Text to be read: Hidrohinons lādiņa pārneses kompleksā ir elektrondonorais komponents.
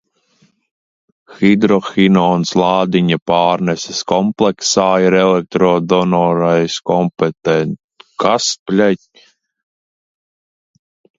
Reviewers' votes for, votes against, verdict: 0, 2, rejected